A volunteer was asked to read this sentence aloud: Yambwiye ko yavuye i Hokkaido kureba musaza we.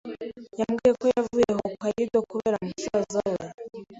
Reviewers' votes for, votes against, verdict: 2, 0, accepted